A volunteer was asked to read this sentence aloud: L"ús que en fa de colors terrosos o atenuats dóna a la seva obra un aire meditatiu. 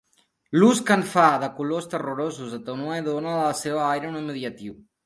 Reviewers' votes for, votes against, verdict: 2, 8, rejected